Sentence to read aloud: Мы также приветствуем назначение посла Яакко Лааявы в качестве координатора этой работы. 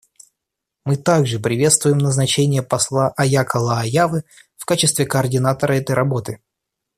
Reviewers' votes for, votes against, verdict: 2, 0, accepted